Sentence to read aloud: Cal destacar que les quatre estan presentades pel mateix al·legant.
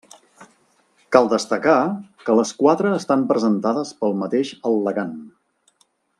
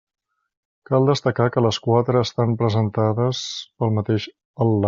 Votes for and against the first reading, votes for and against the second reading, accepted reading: 2, 0, 0, 2, first